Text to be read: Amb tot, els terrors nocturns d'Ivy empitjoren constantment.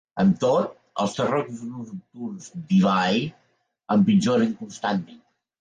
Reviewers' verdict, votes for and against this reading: rejected, 0, 2